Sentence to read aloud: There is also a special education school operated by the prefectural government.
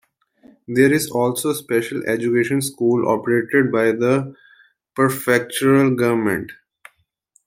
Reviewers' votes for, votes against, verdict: 1, 2, rejected